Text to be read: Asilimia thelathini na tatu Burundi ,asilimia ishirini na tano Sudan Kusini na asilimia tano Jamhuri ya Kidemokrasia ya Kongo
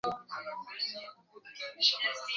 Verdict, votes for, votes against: rejected, 0, 3